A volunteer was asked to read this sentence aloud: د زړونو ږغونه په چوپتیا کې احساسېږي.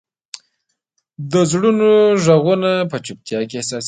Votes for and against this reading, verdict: 0, 2, rejected